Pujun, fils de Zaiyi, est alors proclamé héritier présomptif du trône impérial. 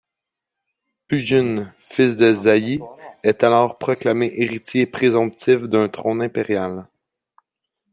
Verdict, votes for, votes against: rejected, 1, 2